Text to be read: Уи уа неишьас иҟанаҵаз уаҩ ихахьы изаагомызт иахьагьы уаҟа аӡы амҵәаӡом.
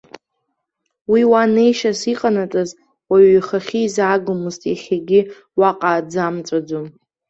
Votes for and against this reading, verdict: 0, 2, rejected